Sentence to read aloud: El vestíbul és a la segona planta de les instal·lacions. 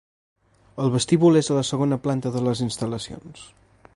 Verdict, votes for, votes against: accepted, 2, 0